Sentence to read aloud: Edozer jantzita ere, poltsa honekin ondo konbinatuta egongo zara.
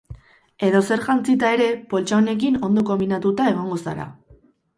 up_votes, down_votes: 2, 0